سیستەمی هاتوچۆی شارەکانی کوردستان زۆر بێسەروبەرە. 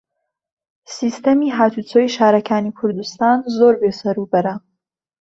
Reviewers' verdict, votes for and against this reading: accepted, 2, 0